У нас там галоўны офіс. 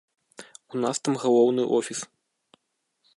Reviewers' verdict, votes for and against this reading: rejected, 1, 2